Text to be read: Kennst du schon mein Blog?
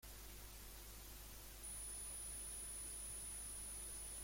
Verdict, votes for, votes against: rejected, 0, 3